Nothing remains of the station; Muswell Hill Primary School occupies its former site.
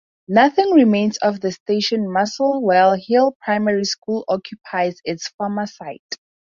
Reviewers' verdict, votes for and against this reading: rejected, 0, 2